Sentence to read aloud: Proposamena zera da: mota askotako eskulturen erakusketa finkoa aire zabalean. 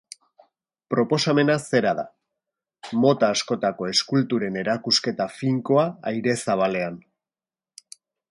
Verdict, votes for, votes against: accepted, 2, 0